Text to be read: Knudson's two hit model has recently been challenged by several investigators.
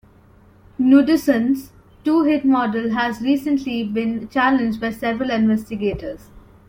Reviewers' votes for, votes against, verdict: 1, 2, rejected